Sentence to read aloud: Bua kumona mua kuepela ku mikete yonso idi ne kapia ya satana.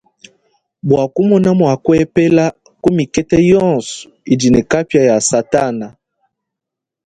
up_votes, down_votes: 2, 0